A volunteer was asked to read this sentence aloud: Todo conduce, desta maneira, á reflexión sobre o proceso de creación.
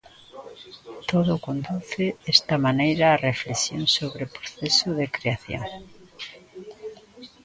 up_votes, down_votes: 2, 1